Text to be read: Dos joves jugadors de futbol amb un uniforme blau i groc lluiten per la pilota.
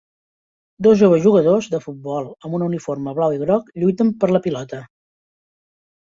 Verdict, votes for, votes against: accepted, 2, 0